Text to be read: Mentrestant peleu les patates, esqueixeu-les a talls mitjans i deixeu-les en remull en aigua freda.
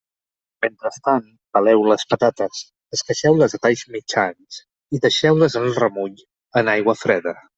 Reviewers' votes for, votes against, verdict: 2, 0, accepted